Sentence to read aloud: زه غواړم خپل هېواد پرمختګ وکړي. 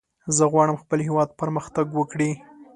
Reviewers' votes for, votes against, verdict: 2, 0, accepted